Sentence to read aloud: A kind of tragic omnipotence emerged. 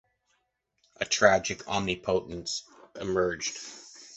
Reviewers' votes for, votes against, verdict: 0, 2, rejected